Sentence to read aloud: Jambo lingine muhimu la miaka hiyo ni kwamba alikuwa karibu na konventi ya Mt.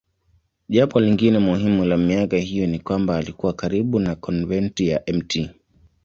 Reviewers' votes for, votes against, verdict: 2, 1, accepted